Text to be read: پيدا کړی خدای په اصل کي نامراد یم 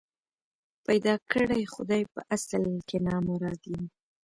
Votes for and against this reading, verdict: 2, 0, accepted